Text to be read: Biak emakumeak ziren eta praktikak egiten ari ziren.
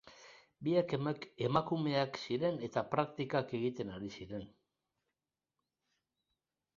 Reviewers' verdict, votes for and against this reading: rejected, 1, 4